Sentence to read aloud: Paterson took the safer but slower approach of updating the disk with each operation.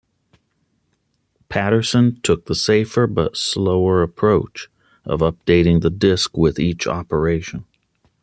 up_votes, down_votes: 2, 0